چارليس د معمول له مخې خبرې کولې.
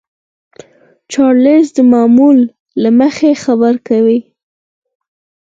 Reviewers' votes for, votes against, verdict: 0, 4, rejected